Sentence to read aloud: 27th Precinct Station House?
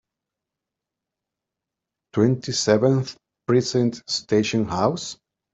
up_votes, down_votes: 0, 2